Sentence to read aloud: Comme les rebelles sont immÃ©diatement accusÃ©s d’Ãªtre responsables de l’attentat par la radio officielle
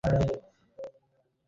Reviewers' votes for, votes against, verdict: 0, 2, rejected